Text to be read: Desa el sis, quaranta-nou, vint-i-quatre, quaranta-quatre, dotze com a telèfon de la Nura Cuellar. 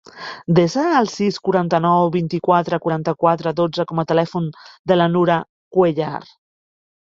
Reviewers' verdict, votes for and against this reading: accepted, 4, 0